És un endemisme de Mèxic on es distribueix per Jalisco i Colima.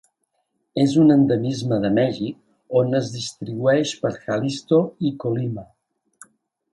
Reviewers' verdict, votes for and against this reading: rejected, 1, 2